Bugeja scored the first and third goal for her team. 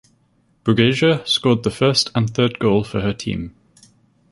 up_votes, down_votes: 2, 2